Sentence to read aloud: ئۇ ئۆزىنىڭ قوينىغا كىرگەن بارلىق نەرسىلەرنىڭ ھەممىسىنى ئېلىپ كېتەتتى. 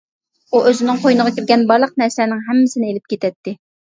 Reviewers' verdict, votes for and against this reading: accepted, 2, 0